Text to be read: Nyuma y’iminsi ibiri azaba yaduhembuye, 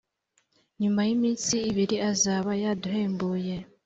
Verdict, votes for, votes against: accepted, 3, 0